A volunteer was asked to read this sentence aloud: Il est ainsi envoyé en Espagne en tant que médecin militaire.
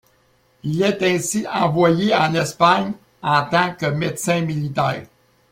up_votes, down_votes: 2, 0